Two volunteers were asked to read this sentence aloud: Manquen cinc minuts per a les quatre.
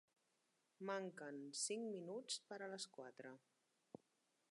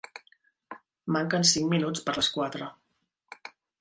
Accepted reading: second